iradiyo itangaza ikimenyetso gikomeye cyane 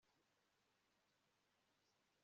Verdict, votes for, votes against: accepted, 3, 2